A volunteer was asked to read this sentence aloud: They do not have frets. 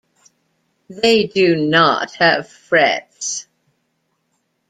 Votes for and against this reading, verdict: 2, 0, accepted